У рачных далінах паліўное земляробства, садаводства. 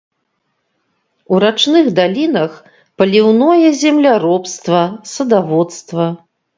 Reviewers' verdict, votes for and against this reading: accepted, 2, 0